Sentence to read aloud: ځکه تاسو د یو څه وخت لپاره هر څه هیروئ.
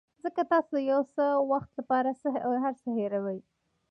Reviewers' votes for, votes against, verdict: 1, 2, rejected